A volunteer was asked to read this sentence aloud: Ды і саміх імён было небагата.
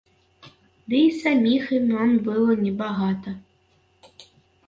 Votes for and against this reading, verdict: 0, 2, rejected